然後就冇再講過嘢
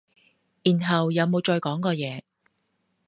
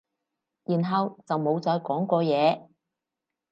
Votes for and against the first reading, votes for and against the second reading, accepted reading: 0, 2, 4, 0, second